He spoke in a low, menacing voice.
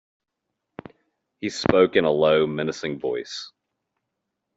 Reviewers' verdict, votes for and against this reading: accepted, 2, 0